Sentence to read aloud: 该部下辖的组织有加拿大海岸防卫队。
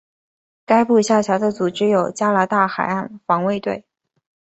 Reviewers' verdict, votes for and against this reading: rejected, 1, 2